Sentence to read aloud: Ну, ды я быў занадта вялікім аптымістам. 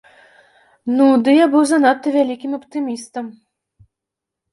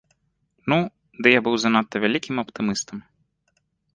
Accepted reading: first